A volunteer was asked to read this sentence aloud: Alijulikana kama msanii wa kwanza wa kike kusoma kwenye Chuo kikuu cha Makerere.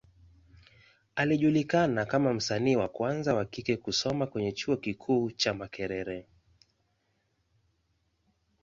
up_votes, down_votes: 2, 0